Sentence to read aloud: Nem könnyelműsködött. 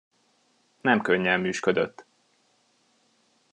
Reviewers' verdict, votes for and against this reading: accepted, 2, 0